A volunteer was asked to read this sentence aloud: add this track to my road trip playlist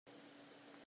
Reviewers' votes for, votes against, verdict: 0, 2, rejected